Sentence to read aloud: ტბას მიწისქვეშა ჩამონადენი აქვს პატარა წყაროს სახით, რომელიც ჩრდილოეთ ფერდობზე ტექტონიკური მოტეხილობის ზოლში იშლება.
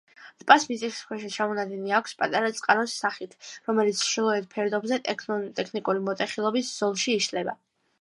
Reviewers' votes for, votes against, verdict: 0, 2, rejected